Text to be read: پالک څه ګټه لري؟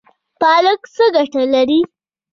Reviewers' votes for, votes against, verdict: 1, 2, rejected